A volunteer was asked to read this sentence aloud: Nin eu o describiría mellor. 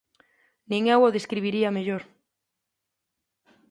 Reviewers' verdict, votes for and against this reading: accepted, 2, 0